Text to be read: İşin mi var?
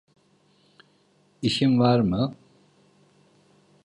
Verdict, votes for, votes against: rejected, 0, 2